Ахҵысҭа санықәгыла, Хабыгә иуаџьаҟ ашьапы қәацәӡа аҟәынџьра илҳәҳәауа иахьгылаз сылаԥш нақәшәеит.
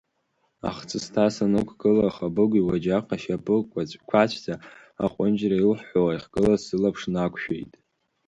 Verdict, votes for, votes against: accepted, 4, 3